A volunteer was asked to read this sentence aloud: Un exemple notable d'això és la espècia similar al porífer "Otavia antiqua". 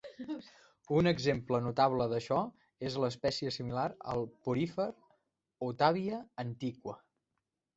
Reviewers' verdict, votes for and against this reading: accepted, 2, 0